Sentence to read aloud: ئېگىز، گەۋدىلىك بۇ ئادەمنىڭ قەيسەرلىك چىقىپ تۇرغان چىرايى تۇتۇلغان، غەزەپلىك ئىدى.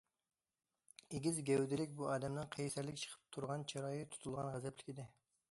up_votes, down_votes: 2, 0